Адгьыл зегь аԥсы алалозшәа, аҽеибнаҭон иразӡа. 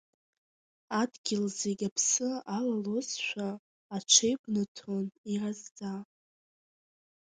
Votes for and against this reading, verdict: 2, 0, accepted